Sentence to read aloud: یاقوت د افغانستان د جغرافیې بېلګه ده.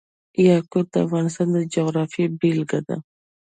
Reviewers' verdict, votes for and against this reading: accepted, 2, 0